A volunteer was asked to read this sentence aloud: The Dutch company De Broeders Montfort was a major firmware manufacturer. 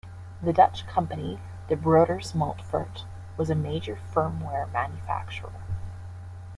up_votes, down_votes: 2, 0